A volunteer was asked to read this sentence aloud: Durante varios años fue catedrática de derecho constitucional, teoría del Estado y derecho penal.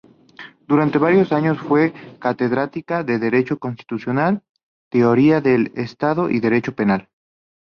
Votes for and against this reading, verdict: 2, 0, accepted